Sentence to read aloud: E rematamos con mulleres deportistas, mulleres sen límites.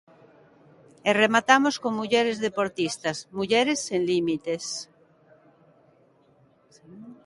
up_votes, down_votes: 2, 0